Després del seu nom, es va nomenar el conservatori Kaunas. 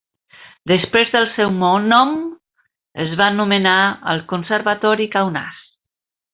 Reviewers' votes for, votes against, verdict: 0, 2, rejected